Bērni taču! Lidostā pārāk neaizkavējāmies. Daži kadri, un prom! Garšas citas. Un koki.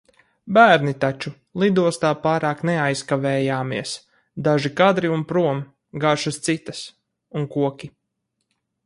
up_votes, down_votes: 4, 0